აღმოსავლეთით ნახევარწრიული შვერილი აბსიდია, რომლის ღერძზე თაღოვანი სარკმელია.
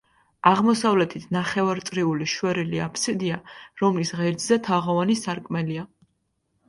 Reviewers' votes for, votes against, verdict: 2, 0, accepted